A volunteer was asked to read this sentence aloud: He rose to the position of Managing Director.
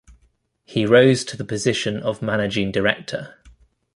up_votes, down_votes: 2, 0